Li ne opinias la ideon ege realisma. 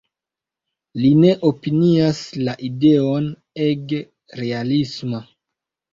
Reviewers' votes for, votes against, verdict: 2, 0, accepted